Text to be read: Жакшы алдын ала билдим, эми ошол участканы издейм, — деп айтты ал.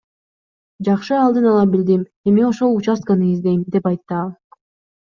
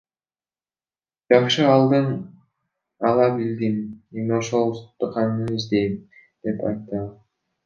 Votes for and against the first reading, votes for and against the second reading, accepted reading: 2, 0, 1, 2, first